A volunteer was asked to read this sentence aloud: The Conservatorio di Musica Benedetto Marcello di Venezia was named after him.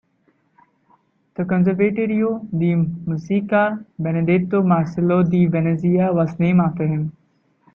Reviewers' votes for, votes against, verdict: 1, 2, rejected